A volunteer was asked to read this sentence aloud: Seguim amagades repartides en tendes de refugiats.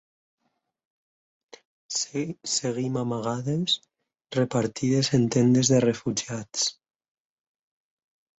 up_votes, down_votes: 0, 4